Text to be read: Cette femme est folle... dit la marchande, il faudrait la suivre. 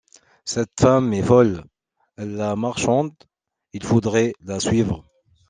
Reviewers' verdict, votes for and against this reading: rejected, 0, 2